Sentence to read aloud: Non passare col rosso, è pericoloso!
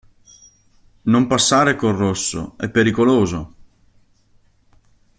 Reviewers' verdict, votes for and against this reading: accepted, 2, 0